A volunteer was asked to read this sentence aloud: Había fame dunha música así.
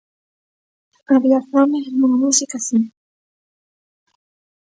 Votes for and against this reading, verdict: 2, 0, accepted